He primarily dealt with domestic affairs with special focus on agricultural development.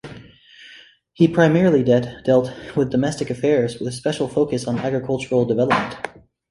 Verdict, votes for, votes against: rejected, 0, 2